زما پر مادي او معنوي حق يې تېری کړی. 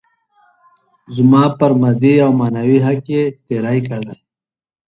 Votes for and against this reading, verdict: 2, 0, accepted